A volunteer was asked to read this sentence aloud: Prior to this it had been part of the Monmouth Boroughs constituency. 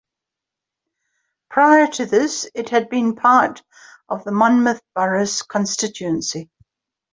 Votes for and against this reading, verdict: 2, 0, accepted